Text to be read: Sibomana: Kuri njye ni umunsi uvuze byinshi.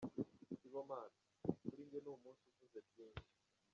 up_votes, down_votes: 0, 2